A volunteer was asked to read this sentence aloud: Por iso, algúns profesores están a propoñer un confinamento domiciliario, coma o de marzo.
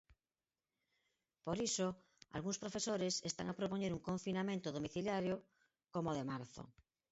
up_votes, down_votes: 4, 0